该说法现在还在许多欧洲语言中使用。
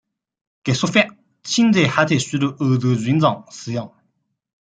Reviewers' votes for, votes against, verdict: 2, 0, accepted